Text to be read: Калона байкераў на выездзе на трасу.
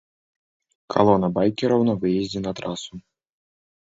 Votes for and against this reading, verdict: 2, 0, accepted